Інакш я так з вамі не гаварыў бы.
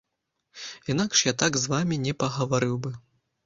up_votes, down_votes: 0, 2